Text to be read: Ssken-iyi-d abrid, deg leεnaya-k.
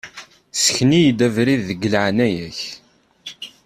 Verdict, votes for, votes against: accepted, 2, 0